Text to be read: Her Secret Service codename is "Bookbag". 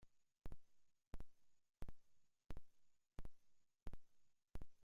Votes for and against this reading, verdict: 0, 2, rejected